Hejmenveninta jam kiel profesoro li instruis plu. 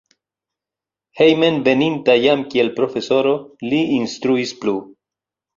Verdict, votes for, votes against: accepted, 4, 1